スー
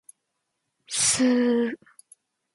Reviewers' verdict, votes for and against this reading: accepted, 2, 0